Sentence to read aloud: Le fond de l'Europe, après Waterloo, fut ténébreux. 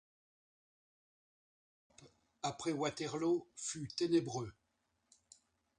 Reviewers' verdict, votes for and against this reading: rejected, 0, 2